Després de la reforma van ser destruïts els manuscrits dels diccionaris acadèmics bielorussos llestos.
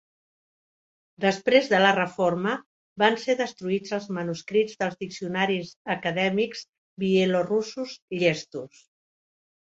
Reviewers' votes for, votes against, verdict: 2, 0, accepted